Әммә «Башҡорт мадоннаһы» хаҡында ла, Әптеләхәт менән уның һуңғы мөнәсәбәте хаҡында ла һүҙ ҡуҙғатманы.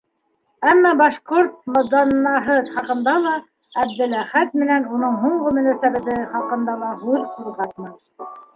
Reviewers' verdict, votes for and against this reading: rejected, 1, 2